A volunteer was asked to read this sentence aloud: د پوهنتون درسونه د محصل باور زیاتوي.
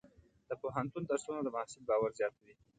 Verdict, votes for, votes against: accepted, 2, 0